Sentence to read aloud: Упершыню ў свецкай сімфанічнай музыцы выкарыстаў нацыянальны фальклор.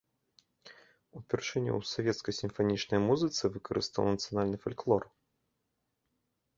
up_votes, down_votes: 1, 2